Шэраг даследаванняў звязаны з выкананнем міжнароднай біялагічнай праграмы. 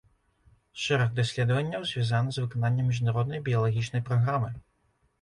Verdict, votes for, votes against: accepted, 2, 0